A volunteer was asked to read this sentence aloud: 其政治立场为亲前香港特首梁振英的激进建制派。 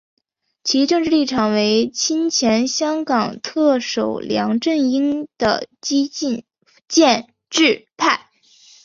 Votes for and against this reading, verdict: 6, 0, accepted